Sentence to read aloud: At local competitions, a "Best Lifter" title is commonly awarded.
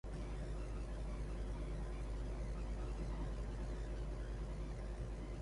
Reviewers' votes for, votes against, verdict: 0, 3, rejected